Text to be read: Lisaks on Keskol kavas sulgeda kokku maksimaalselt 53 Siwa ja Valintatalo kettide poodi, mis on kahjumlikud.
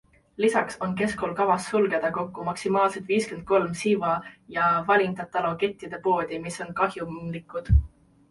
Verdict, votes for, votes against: rejected, 0, 2